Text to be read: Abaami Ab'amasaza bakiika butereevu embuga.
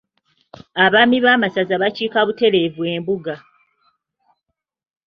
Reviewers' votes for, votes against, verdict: 0, 2, rejected